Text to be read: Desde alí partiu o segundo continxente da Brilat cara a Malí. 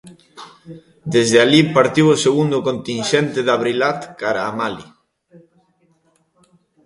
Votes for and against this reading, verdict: 0, 2, rejected